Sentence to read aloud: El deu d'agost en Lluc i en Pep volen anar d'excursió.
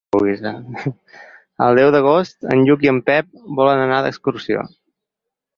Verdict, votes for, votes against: rejected, 0, 4